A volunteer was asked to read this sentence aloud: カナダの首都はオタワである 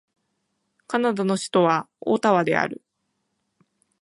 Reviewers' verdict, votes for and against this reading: accepted, 2, 0